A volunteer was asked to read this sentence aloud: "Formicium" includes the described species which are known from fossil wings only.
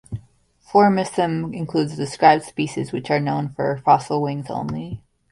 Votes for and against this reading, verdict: 1, 2, rejected